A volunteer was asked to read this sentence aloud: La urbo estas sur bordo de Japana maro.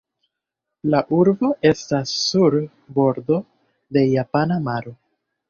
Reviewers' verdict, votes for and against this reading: accepted, 2, 0